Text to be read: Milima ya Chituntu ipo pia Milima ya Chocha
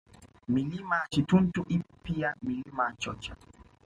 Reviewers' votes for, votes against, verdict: 2, 0, accepted